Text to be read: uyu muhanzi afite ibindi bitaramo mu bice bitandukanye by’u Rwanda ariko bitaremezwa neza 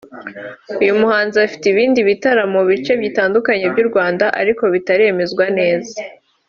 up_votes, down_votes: 3, 0